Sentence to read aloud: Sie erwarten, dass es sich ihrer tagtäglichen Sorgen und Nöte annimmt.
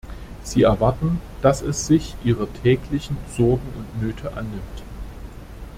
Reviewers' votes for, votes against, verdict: 0, 2, rejected